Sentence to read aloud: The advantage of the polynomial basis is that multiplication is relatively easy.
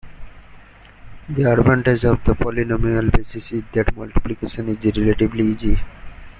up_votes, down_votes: 1, 2